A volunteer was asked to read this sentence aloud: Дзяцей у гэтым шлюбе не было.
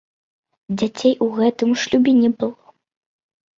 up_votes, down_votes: 2, 1